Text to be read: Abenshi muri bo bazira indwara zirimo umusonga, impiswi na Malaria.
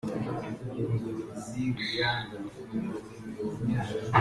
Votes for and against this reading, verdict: 0, 2, rejected